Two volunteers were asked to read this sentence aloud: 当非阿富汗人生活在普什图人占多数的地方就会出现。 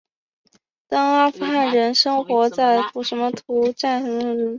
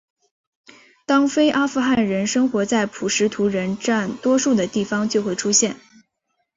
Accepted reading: second